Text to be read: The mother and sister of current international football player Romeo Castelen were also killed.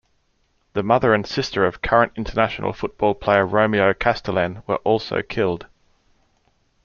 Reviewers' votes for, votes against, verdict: 2, 0, accepted